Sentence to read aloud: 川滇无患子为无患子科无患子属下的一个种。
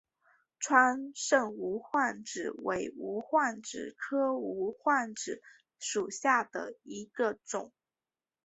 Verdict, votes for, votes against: accepted, 2, 0